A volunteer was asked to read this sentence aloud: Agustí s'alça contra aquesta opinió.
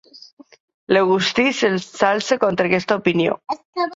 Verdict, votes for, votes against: rejected, 0, 2